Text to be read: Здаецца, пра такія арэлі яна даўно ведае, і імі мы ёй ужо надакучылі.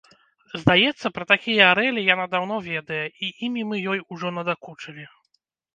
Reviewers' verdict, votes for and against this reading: accepted, 2, 0